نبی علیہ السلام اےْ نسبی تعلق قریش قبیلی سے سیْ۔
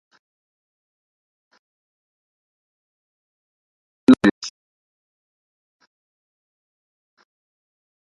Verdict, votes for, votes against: rejected, 0, 2